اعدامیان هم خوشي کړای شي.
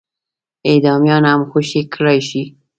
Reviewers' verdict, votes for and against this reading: accepted, 3, 0